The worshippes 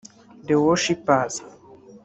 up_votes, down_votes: 0, 2